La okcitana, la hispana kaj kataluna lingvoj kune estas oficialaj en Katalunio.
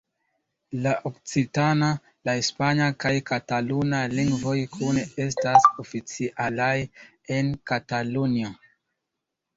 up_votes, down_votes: 0, 2